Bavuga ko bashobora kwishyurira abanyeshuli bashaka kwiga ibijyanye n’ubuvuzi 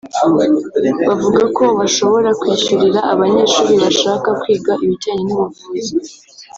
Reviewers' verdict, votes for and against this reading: rejected, 0, 2